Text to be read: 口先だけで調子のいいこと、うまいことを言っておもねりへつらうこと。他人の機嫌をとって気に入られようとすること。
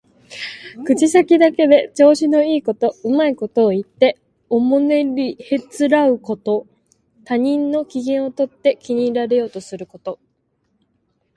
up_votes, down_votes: 2, 0